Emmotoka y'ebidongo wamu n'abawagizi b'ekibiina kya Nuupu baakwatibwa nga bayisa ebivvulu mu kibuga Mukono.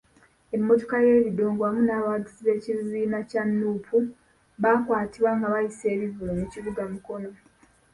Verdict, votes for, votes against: rejected, 0, 2